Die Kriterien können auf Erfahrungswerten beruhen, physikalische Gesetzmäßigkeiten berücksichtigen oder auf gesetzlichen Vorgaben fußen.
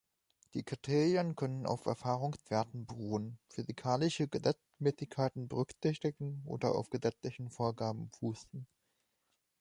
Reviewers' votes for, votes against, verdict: 0, 2, rejected